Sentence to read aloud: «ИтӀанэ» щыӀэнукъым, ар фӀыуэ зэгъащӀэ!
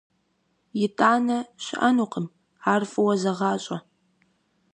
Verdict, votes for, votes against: accepted, 2, 0